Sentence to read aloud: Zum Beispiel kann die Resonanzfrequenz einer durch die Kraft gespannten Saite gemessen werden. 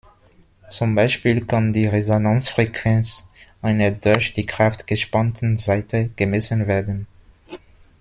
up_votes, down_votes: 2, 0